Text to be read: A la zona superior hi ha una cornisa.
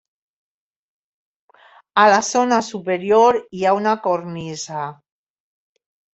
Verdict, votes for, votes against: accepted, 3, 0